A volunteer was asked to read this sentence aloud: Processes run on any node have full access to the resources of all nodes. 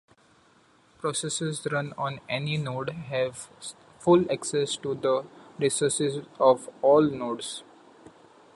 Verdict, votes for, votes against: rejected, 0, 2